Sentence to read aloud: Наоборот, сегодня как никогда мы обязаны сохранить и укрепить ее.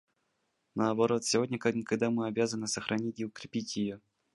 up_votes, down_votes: 2, 0